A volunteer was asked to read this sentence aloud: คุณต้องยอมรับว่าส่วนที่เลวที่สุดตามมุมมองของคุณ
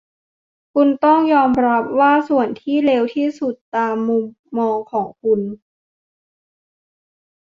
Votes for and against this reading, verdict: 3, 0, accepted